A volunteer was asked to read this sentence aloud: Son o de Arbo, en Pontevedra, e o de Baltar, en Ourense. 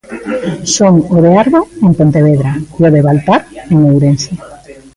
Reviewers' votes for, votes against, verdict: 1, 2, rejected